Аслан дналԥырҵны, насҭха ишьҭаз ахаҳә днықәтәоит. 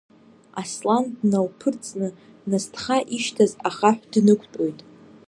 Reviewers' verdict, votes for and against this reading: rejected, 1, 2